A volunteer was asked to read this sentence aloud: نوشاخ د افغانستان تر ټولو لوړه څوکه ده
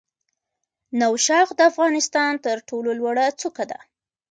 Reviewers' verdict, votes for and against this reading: accepted, 2, 0